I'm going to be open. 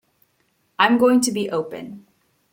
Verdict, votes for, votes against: accepted, 2, 0